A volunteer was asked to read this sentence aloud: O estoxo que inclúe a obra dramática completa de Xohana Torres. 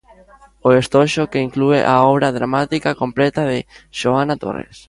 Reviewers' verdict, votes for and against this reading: rejected, 0, 2